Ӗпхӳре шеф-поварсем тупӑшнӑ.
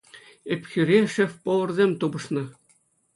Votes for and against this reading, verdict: 2, 0, accepted